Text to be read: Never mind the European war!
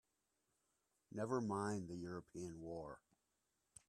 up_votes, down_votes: 1, 2